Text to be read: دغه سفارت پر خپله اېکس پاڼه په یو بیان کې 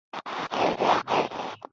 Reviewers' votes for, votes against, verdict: 1, 2, rejected